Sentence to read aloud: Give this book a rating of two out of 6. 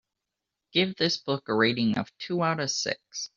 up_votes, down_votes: 0, 2